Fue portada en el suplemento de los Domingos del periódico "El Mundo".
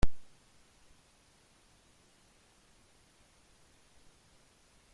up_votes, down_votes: 0, 2